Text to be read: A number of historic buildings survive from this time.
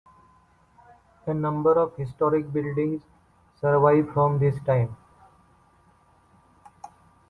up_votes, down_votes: 1, 2